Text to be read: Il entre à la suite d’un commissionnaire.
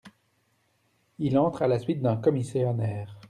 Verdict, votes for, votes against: rejected, 0, 2